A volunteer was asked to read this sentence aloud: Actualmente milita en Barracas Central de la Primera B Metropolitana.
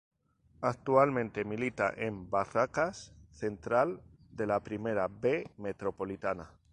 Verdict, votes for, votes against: accepted, 4, 0